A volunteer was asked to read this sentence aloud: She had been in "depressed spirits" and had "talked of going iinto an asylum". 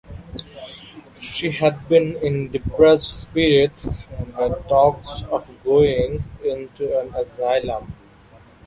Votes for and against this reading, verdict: 0, 2, rejected